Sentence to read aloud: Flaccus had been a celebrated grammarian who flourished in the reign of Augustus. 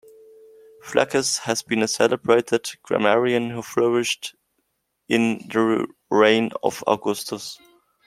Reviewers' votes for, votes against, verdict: 0, 2, rejected